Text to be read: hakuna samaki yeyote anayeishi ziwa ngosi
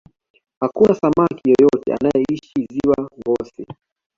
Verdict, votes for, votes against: accepted, 2, 1